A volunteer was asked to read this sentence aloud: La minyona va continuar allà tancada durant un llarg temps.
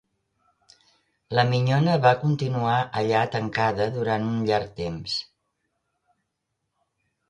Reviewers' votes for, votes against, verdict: 2, 0, accepted